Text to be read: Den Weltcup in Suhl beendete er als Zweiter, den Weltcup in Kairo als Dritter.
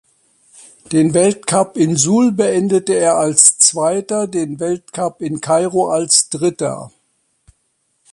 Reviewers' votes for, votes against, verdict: 2, 0, accepted